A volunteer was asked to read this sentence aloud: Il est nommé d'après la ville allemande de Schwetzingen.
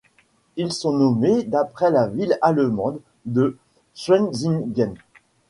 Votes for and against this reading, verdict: 1, 2, rejected